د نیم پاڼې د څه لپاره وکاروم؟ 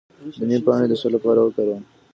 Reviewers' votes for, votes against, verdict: 2, 1, accepted